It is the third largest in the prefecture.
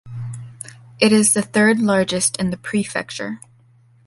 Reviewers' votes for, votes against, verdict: 2, 0, accepted